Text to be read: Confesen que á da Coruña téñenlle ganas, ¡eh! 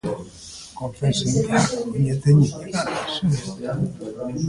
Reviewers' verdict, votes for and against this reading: rejected, 0, 2